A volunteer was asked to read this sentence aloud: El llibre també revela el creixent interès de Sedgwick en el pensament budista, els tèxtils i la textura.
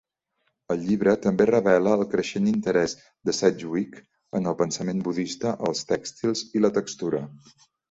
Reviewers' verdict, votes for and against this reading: accepted, 2, 0